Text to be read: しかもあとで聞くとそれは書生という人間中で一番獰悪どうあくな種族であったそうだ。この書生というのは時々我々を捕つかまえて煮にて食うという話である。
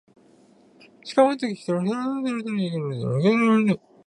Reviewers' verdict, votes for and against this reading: rejected, 0, 2